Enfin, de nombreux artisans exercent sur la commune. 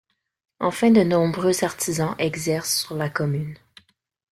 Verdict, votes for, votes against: rejected, 1, 2